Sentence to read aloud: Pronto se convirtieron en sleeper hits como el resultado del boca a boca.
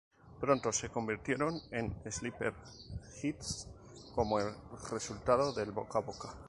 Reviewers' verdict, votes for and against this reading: rejected, 0, 2